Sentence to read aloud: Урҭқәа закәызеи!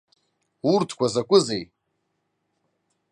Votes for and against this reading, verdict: 2, 0, accepted